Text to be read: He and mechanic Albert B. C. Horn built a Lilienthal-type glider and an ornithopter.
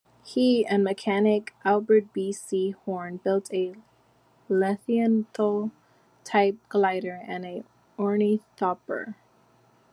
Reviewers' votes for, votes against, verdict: 1, 2, rejected